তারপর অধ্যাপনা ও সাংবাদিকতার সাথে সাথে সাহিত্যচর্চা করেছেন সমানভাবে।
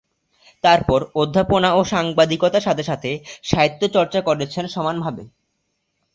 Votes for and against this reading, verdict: 2, 0, accepted